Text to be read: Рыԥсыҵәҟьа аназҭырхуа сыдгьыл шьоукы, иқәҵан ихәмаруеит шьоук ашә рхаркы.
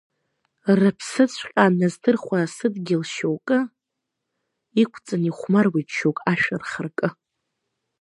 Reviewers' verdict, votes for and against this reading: rejected, 0, 2